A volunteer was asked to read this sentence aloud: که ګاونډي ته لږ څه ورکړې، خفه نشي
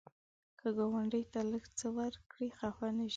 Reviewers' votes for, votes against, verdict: 0, 2, rejected